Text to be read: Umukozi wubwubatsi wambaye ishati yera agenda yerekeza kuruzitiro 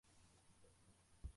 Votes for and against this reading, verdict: 0, 2, rejected